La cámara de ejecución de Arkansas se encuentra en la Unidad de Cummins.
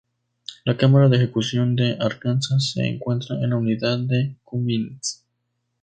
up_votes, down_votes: 2, 0